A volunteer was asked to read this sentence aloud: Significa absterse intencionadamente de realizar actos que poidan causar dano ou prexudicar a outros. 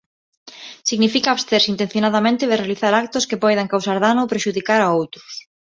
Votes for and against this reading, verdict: 2, 0, accepted